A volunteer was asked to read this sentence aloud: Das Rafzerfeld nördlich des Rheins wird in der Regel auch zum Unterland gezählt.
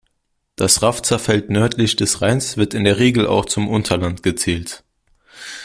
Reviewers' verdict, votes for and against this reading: accepted, 2, 0